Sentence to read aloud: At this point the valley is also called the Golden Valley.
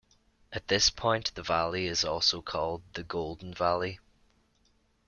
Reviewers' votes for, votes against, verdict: 2, 0, accepted